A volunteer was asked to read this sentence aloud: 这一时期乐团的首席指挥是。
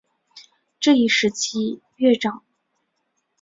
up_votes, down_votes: 2, 5